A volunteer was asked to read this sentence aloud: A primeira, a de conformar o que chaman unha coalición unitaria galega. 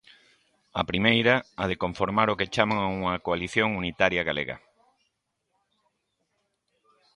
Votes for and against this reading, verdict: 2, 0, accepted